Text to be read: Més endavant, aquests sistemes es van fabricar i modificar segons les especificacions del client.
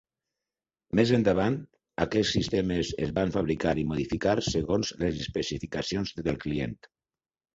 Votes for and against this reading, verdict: 4, 6, rejected